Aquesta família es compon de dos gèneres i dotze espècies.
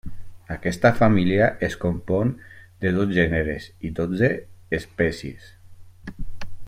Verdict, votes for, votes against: accepted, 2, 0